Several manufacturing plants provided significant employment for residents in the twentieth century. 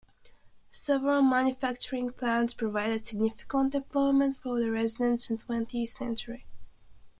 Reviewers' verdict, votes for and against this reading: rejected, 0, 2